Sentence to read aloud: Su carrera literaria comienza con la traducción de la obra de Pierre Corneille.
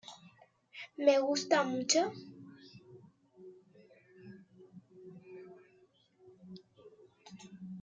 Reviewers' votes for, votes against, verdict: 1, 2, rejected